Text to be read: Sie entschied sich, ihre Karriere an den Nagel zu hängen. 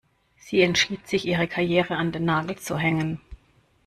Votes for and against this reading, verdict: 2, 0, accepted